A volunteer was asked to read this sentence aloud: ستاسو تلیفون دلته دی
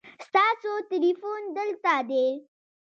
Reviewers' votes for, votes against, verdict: 2, 0, accepted